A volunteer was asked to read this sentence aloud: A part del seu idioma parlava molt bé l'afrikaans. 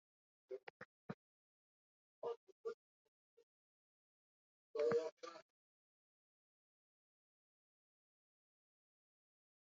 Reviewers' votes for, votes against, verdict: 0, 2, rejected